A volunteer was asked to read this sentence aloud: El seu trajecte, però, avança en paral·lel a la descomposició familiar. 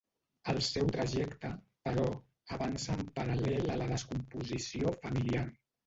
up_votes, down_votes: 0, 2